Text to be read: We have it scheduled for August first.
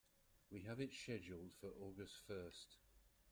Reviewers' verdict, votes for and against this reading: rejected, 1, 2